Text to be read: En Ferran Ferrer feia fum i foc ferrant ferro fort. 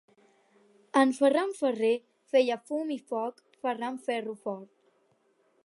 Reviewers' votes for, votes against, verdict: 4, 0, accepted